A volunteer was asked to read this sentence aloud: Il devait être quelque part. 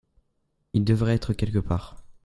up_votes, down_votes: 0, 2